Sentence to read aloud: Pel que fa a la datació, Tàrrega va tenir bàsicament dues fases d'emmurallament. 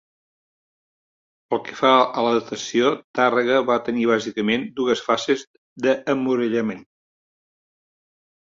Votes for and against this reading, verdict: 2, 0, accepted